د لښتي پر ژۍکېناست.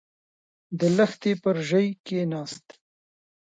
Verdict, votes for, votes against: rejected, 1, 2